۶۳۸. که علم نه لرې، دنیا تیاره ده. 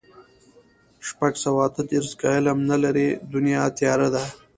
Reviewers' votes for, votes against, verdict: 0, 2, rejected